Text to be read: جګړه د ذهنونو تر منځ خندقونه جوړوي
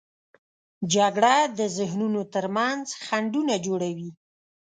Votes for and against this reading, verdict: 1, 2, rejected